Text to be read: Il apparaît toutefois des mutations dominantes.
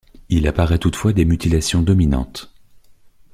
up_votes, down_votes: 0, 2